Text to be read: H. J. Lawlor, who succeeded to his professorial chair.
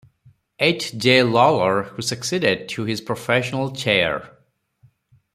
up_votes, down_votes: 0, 4